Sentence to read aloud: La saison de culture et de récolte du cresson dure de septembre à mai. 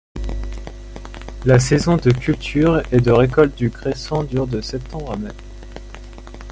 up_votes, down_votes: 2, 0